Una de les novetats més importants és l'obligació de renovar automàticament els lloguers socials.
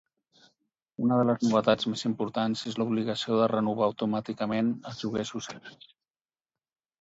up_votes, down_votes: 2, 4